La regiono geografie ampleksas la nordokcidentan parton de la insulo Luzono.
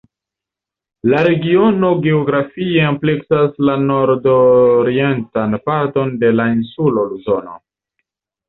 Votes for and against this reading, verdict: 0, 2, rejected